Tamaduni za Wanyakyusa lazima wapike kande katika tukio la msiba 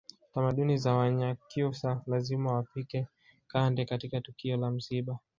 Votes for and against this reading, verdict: 0, 2, rejected